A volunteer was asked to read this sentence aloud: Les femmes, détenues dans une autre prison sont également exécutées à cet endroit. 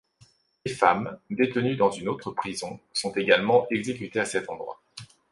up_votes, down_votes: 2, 0